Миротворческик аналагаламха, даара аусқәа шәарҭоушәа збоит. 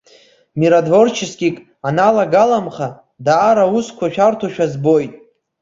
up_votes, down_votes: 2, 0